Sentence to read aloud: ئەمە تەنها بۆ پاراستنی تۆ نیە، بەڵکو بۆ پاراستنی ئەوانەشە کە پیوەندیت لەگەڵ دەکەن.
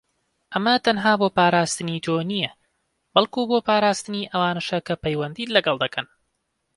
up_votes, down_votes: 2, 0